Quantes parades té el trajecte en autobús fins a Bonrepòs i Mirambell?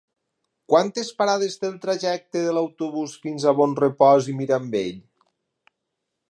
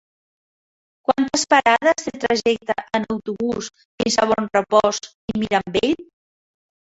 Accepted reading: second